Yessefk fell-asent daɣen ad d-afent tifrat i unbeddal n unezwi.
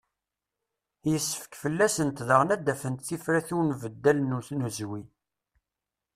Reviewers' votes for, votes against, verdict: 1, 2, rejected